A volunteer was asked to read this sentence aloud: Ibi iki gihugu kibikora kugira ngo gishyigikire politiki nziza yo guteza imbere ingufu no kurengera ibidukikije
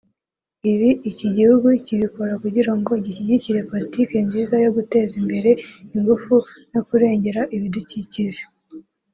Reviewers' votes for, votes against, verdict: 2, 0, accepted